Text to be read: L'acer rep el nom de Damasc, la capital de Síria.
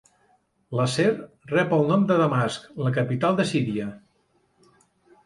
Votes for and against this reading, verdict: 0, 2, rejected